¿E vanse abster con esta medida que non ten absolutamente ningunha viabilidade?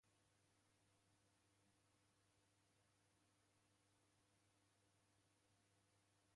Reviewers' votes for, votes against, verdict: 0, 2, rejected